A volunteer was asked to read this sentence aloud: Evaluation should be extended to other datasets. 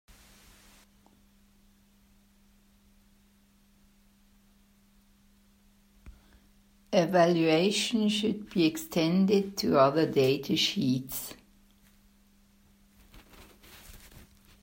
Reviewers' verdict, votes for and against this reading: rejected, 0, 3